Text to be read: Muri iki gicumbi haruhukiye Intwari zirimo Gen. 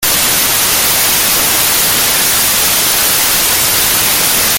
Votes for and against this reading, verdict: 0, 3, rejected